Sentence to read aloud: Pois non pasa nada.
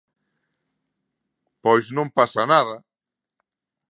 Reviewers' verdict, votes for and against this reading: accepted, 2, 0